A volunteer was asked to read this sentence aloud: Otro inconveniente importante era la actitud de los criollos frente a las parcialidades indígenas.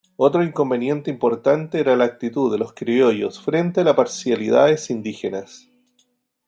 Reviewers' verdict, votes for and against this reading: rejected, 0, 2